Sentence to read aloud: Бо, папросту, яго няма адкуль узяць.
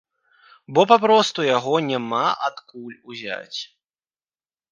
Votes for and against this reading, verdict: 2, 0, accepted